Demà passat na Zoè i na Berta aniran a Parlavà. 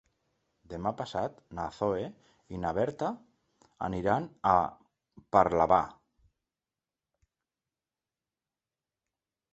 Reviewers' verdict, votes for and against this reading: accepted, 3, 0